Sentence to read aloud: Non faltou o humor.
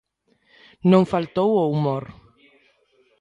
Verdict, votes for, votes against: accepted, 2, 0